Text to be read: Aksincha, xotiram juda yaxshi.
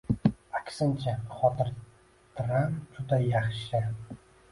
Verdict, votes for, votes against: rejected, 0, 2